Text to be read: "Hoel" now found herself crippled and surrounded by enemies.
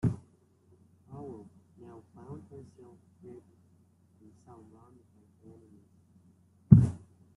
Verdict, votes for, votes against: rejected, 0, 2